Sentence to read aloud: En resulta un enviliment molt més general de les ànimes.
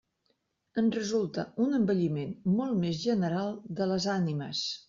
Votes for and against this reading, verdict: 1, 2, rejected